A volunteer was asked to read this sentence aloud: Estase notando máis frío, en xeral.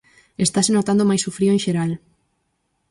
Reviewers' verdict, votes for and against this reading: rejected, 0, 4